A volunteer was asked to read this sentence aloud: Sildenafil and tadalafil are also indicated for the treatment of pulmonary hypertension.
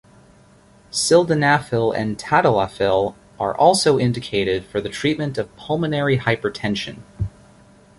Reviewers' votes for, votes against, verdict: 2, 0, accepted